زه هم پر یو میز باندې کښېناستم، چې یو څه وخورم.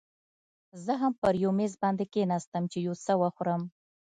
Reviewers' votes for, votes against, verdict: 2, 0, accepted